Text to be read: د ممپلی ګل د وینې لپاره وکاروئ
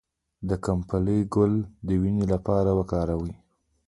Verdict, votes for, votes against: rejected, 0, 2